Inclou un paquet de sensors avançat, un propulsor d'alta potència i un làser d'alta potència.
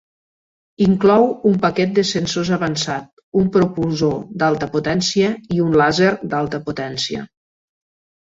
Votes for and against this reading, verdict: 0, 2, rejected